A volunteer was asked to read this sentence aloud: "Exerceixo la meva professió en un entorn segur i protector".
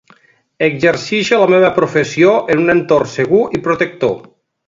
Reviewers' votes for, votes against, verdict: 1, 2, rejected